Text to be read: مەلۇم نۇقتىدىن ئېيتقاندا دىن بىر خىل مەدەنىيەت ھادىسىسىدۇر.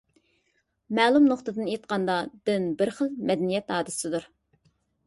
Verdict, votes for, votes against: rejected, 0, 2